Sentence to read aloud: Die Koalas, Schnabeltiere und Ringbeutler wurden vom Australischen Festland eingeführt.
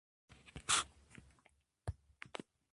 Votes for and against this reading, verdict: 0, 2, rejected